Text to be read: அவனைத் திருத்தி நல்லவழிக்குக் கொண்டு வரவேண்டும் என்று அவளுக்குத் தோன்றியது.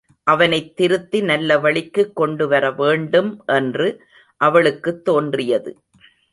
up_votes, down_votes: 2, 0